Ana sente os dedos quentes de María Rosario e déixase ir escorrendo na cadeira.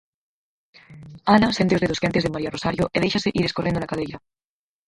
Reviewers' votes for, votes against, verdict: 2, 4, rejected